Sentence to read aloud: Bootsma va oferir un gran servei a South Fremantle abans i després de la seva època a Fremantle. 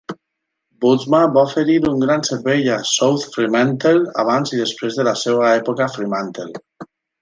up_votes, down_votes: 4, 1